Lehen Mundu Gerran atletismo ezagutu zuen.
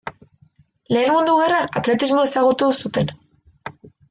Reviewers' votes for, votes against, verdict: 1, 2, rejected